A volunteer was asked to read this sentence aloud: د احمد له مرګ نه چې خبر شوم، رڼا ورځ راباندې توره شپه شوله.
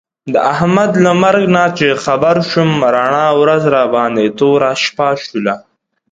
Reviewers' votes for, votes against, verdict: 2, 0, accepted